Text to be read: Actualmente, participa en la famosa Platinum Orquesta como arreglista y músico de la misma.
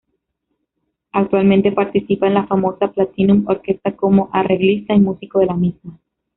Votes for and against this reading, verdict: 2, 0, accepted